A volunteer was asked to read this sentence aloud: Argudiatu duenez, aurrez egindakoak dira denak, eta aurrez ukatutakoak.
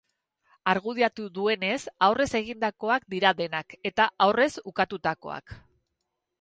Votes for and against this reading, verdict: 2, 2, rejected